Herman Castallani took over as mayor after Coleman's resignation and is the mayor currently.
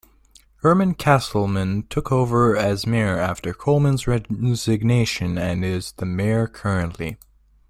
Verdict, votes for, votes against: rejected, 0, 2